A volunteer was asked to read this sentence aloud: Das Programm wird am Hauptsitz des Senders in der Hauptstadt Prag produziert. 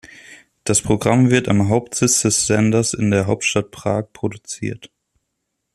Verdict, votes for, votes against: accepted, 2, 0